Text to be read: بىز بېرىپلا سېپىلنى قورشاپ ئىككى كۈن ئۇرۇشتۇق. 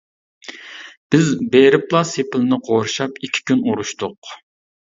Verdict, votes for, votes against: accepted, 2, 0